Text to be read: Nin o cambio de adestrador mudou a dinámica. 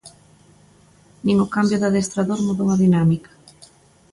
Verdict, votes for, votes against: accepted, 2, 0